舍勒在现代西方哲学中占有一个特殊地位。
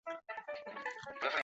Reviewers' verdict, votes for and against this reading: rejected, 0, 2